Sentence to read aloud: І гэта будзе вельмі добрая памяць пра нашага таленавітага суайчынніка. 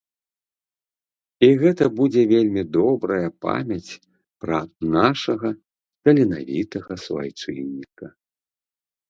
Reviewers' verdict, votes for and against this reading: accepted, 2, 0